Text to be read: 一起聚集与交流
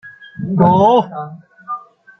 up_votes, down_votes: 0, 2